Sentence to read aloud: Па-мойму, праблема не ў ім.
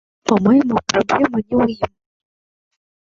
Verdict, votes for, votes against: rejected, 0, 2